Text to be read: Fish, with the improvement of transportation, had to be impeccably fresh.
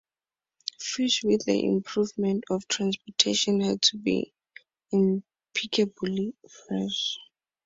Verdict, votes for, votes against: accepted, 2, 0